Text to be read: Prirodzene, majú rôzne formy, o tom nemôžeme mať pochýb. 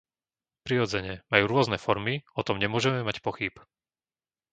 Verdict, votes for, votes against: accepted, 2, 0